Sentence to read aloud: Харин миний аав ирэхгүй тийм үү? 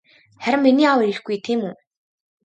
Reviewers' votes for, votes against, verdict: 0, 2, rejected